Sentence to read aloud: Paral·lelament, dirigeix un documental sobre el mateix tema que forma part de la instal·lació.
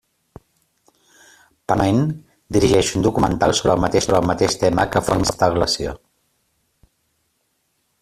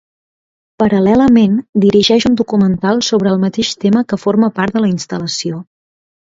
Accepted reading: second